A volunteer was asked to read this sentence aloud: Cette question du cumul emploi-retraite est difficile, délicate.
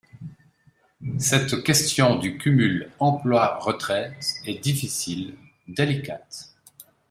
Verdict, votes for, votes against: accepted, 2, 0